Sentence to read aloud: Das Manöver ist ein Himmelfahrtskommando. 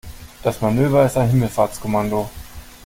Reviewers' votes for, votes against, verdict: 2, 0, accepted